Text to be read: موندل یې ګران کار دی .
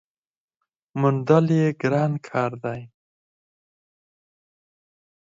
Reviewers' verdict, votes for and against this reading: rejected, 2, 4